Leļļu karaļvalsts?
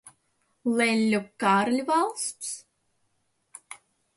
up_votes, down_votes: 1, 2